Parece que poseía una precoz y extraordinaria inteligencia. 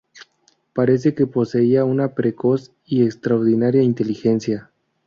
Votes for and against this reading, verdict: 2, 2, rejected